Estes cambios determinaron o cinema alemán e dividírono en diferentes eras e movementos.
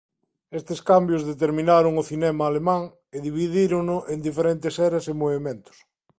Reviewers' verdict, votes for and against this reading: accepted, 2, 0